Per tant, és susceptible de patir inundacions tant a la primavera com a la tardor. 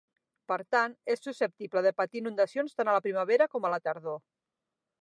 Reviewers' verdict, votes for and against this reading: accepted, 9, 0